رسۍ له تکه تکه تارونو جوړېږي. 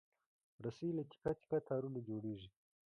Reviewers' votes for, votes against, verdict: 2, 0, accepted